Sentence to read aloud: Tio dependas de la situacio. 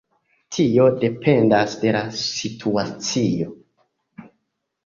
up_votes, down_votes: 1, 2